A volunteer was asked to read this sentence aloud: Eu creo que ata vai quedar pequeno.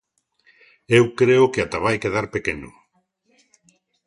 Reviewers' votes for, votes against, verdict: 2, 0, accepted